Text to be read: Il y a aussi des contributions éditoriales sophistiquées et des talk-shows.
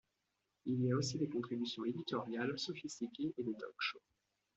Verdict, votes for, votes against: accepted, 2, 0